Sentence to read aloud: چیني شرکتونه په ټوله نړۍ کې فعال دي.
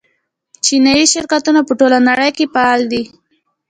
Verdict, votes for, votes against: accepted, 2, 0